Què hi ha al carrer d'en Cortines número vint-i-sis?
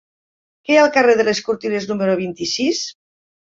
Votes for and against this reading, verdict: 0, 2, rejected